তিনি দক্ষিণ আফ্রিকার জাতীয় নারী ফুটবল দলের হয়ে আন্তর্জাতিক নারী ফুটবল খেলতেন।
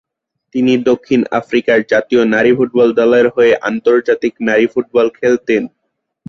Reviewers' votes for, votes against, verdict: 6, 0, accepted